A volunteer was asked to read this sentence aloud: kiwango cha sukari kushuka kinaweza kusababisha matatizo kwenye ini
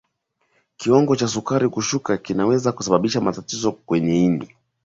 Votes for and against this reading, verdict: 4, 0, accepted